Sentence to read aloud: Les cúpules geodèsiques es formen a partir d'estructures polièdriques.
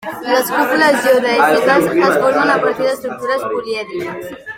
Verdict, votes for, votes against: rejected, 1, 2